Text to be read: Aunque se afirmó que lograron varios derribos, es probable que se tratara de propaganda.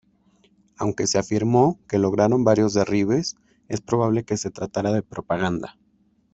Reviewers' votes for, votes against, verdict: 1, 2, rejected